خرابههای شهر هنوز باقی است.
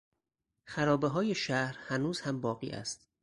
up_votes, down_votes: 2, 4